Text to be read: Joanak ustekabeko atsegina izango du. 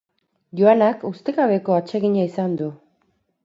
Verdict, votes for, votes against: rejected, 2, 2